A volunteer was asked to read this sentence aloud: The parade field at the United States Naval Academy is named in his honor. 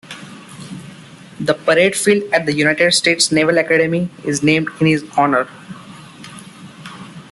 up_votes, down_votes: 2, 1